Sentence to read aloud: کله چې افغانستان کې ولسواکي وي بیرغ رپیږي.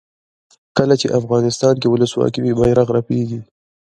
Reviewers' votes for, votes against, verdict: 0, 2, rejected